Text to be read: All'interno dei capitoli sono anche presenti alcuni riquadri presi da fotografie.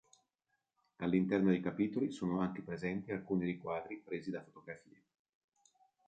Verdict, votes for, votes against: accepted, 2, 1